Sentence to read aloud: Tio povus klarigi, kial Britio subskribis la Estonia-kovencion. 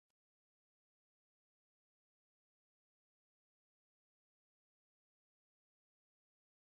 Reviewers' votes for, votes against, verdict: 2, 1, accepted